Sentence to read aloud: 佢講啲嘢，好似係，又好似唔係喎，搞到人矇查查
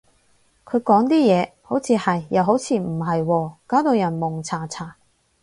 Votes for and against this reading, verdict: 4, 0, accepted